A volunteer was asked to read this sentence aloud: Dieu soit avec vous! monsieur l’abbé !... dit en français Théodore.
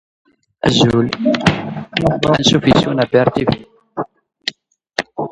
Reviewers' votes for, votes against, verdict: 0, 2, rejected